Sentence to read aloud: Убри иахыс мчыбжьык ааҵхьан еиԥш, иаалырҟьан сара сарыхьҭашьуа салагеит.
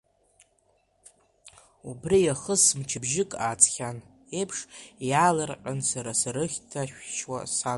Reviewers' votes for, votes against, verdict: 0, 2, rejected